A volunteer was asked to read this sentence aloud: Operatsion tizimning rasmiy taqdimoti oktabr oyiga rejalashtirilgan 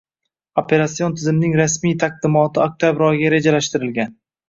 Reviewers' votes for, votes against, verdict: 2, 0, accepted